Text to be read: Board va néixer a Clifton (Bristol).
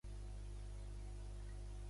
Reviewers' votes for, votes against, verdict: 0, 2, rejected